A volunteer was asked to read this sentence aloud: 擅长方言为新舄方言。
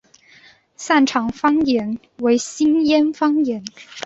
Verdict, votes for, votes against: accepted, 2, 0